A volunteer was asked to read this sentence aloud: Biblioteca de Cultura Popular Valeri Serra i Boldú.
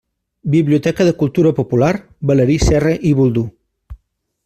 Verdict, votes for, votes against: rejected, 0, 2